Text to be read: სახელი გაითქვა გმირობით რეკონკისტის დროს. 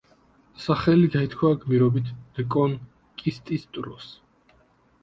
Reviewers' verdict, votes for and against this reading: accepted, 2, 1